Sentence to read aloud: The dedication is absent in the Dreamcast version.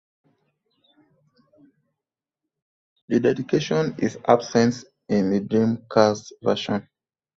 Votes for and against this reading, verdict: 2, 1, accepted